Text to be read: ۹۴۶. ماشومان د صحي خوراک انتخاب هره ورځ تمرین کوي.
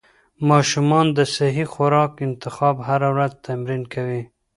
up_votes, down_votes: 0, 2